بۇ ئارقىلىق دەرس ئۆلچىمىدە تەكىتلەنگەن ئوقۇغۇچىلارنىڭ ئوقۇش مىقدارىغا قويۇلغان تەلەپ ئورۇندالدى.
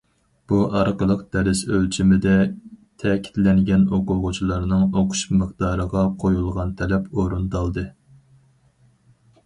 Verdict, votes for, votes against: accepted, 4, 0